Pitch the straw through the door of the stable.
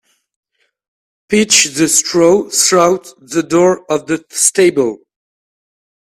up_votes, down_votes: 0, 2